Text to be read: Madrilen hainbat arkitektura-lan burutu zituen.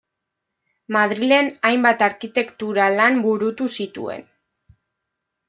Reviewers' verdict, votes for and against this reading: accepted, 2, 0